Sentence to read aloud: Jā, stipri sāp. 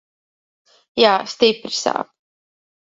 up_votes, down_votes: 2, 0